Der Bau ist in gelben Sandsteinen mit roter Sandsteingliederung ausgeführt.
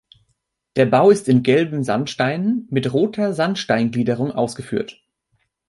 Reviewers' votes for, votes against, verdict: 2, 0, accepted